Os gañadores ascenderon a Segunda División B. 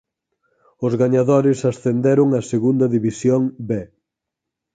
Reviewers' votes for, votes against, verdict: 4, 0, accepted